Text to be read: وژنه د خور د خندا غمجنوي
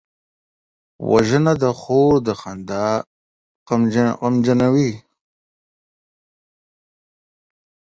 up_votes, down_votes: 7, 14